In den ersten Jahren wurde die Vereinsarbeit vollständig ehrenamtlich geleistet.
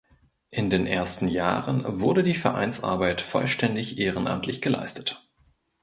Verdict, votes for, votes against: accepted, 2, 0